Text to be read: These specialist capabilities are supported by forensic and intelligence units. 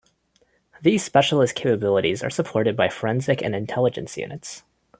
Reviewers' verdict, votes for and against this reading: accepted, 2, 0